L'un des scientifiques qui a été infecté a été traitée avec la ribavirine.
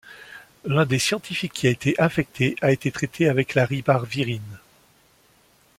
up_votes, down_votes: 2, 1